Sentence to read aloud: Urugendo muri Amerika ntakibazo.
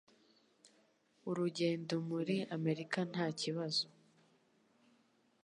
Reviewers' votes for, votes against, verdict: 2, 0, accepted